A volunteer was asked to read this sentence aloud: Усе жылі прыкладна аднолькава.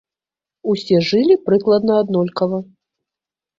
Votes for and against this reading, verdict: 0, 2, rejected